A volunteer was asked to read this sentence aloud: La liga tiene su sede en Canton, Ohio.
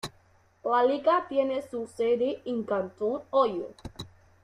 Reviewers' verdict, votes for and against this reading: rejected, 0, 2